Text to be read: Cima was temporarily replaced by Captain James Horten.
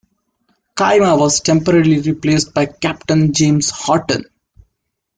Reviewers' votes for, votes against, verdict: 2, 0, accepted